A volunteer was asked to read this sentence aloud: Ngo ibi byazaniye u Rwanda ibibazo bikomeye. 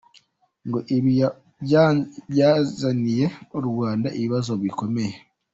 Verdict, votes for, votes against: rejected, 1, 2